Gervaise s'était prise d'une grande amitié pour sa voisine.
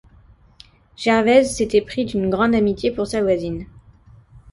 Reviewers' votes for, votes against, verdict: 1, 2, rejected